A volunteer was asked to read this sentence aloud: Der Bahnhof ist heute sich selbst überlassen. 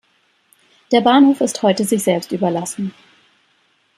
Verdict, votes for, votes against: accepted, 2, 0